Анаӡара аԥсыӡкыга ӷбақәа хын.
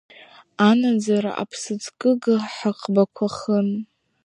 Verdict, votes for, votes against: rejected, 1, 2